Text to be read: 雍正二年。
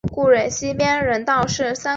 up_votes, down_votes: 0, 2